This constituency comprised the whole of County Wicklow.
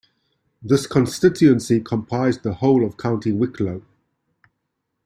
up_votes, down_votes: 2, 0